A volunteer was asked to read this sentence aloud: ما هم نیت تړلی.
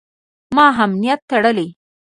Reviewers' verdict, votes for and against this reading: rejected, 1, 2